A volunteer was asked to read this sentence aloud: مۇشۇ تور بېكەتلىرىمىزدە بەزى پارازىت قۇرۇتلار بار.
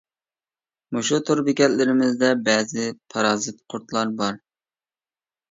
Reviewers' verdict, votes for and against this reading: accepted, 2, 0